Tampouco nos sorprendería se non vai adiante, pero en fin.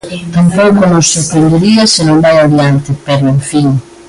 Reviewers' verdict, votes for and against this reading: rejected, 1, 2